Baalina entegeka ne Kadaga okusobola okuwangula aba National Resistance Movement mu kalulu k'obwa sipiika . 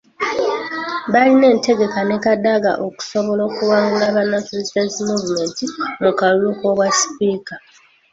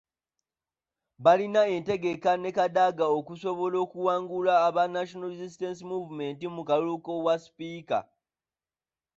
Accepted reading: second